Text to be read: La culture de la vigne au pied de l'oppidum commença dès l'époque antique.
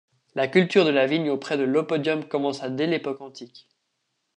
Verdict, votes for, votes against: rejected, 1, 2